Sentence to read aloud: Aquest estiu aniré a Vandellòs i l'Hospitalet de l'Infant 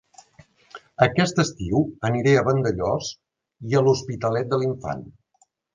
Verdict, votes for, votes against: rejected, 1, 2